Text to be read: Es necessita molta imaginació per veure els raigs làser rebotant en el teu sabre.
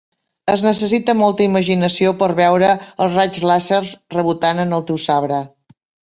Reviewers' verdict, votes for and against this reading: accepted, 7, 4